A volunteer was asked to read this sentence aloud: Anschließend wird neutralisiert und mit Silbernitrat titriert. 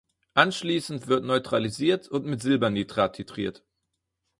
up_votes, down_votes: 4, 0